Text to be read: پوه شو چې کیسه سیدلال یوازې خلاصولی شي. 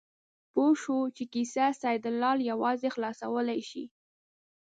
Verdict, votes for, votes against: accepted, 3, 0